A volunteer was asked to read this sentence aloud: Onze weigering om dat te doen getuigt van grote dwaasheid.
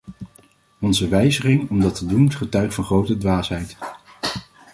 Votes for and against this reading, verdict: 1, 2, rejected